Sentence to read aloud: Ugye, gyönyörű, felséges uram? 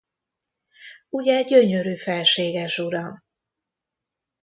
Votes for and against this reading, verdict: 1, 2, rejected